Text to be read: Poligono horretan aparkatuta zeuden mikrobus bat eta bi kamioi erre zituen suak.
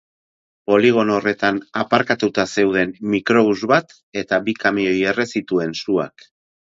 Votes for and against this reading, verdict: 2, 0, accepted